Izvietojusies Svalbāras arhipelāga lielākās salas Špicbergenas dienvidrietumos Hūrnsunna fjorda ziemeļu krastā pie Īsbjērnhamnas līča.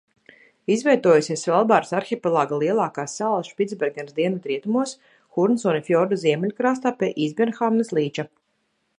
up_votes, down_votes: 2, 0